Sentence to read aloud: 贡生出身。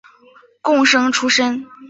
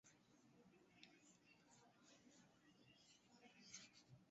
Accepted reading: first